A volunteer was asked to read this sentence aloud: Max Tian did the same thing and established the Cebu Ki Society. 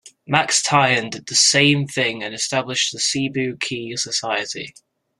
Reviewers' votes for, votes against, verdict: 2, 0, accepted